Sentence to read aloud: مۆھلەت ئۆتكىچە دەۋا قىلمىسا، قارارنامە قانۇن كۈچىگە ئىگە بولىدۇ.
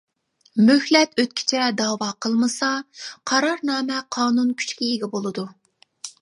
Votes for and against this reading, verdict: 1, 2, rejected